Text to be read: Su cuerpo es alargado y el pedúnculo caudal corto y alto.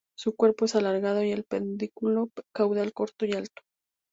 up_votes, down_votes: 0, 2